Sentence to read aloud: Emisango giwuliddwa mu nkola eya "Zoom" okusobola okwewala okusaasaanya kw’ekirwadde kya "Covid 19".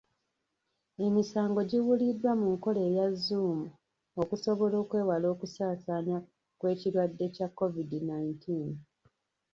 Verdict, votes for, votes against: rejected, 0, 2